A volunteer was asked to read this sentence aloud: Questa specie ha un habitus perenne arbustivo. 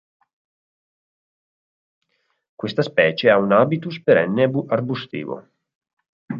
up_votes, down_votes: 0, 4